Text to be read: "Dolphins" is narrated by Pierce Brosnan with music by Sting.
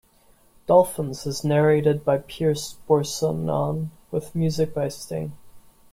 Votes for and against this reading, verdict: 1, 2, rejected